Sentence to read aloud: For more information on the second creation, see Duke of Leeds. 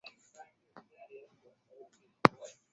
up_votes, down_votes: 0, 2